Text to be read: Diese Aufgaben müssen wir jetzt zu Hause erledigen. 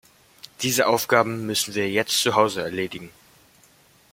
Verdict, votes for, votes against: accepted, 2, 0